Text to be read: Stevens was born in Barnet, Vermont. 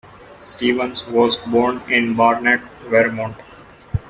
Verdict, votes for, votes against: rejected, 1, 2